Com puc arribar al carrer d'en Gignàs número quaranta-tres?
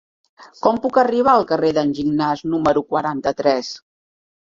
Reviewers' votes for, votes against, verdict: 3, 0, accepted